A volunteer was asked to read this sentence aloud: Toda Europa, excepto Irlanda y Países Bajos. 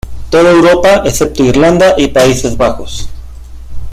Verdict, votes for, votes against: accepted, 2, 0